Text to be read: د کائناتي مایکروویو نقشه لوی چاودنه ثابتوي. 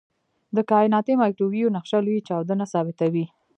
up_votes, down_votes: 2, 0